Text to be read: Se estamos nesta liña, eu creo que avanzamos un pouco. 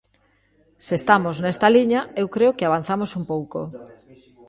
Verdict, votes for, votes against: rejected, 1, 2